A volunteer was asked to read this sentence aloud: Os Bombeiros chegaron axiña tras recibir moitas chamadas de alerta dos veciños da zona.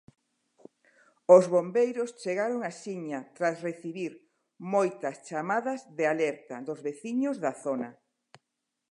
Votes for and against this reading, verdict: 2, 0, accepted